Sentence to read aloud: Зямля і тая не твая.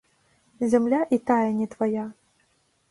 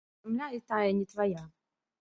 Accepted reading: first